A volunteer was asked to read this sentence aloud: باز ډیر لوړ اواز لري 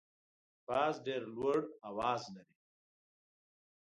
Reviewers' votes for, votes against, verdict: 2, 0, accepted